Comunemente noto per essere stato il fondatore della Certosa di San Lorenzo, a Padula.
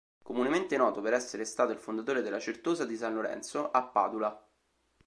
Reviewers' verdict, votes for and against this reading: accepted, 2, 0